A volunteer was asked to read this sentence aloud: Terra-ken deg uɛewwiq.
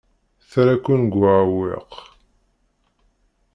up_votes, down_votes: 2, 0